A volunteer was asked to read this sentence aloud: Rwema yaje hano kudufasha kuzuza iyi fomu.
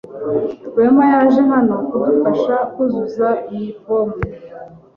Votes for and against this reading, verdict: 2, 0, accepted